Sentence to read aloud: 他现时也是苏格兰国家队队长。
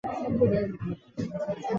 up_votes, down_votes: 0, 3